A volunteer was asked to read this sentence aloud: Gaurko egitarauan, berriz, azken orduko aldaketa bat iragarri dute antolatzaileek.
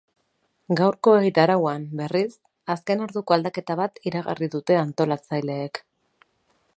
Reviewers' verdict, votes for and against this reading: accepted, 4, 0